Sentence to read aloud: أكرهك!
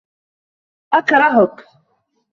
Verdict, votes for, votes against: accepted, 2, 0